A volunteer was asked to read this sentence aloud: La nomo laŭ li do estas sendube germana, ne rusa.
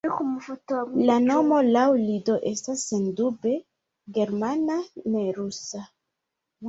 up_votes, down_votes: 0, 2